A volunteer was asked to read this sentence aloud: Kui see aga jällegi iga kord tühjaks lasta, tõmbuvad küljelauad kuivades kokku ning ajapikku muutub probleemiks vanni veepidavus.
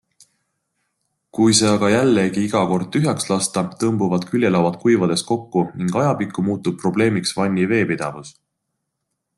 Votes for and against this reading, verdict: 2, 0, accepted